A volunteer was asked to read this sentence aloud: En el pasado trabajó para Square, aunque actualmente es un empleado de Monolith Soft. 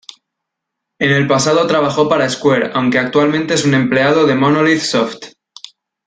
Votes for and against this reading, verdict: 2, 0, accepted